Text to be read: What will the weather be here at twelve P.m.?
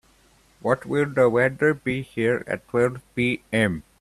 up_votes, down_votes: 2, 0